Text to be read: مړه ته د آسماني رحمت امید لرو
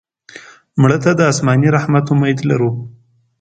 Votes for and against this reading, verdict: 2, 0, accepted